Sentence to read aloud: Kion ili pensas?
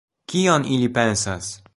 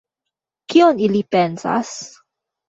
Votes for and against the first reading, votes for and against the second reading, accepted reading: 2, 0, 1, 2, first